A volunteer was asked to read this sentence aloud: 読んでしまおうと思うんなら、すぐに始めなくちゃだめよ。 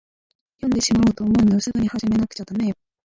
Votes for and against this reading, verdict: 0, 2, rejected